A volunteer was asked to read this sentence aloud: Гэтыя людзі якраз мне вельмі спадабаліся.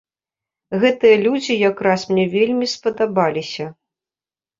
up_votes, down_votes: 2, 0